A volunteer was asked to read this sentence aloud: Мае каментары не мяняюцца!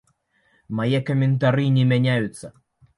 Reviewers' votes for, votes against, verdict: 2, 0, accepted